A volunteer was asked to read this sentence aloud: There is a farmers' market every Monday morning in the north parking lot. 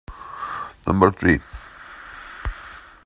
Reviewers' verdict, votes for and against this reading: rejected, 0, 2